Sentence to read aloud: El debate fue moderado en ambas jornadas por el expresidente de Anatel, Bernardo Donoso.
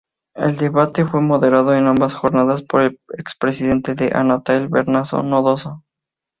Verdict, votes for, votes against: rejected, 0, 2